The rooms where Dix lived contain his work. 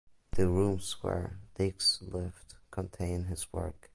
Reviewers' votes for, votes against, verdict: 3, 0, accepted